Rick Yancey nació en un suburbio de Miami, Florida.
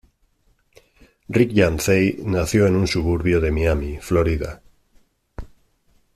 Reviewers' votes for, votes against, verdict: 2, 0, accepted